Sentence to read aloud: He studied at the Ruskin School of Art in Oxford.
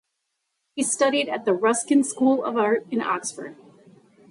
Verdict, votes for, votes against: accepted, 2, 0